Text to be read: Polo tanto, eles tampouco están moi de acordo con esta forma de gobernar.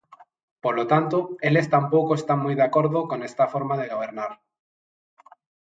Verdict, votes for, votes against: accepted, 2, 0